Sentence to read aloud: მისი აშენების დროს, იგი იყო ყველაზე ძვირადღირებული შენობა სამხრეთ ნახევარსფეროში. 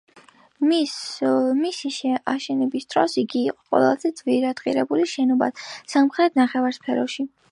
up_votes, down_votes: 0, 2